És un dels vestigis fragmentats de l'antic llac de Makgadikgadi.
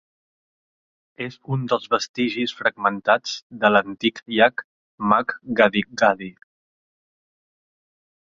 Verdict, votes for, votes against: rejected, 1, 2